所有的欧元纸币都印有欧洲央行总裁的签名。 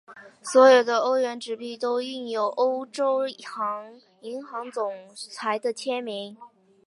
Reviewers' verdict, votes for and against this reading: rejected, 0, 2